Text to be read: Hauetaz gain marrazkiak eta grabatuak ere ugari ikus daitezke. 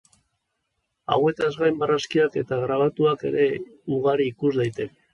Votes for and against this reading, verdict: 0, 2, rejected